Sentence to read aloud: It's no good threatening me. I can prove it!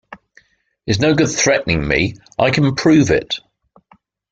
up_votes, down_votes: 2, 0